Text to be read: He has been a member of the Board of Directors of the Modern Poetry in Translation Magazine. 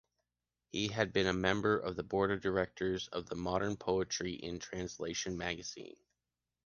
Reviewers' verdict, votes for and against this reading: rejected, 1, 2